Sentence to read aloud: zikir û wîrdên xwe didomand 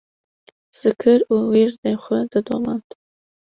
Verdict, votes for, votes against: accepted, 2, 0